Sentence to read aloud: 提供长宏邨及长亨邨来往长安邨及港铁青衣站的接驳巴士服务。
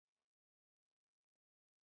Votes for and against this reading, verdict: 0, 3, rejected